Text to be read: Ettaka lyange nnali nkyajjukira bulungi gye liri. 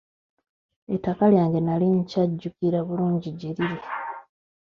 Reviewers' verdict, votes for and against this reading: rejected, 2, 3